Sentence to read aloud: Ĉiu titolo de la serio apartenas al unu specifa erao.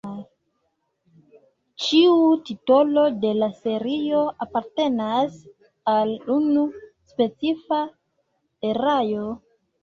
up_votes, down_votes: 1, 2